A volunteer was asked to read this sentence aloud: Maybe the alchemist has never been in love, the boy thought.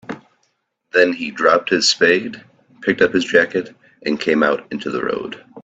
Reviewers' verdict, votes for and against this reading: rejected, 0, 2